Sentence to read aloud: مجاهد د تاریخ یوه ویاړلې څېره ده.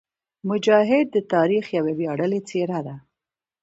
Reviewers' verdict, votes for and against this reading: accepted, 2, 0